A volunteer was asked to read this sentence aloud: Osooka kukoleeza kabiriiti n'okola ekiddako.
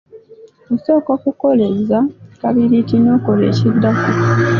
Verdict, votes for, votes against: accepted, 2, 0